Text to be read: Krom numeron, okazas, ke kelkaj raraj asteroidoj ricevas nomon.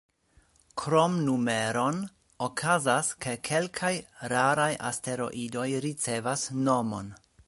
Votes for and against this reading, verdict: 3, 1, accepted